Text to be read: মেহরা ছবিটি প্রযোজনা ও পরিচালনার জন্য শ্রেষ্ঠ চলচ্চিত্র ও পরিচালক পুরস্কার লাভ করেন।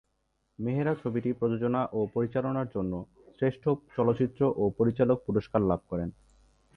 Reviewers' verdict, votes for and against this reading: accepted, 2, 0